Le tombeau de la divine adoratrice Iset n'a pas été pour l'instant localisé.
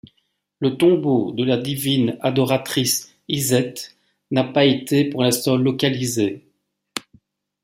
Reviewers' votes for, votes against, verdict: 2, 0, accepted